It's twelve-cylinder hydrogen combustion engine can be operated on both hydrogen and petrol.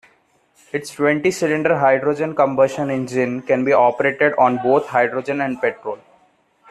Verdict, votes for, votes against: rejected, 0, 2